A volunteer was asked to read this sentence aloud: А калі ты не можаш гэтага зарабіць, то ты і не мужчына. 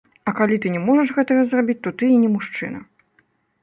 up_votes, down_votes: 0, 2